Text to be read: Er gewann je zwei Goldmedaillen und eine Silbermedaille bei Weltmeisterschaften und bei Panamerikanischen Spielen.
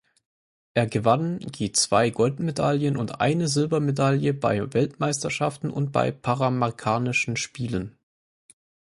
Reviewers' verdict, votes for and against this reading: rejected, 0, 4